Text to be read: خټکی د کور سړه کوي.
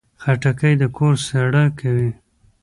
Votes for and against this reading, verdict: 2, 0, accepted